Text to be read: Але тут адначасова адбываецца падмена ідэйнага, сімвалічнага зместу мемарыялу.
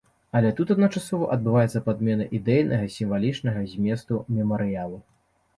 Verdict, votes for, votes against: accepted, 3, 0